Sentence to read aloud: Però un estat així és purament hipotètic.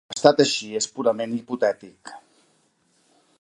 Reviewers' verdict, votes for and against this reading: rejected, 0, 3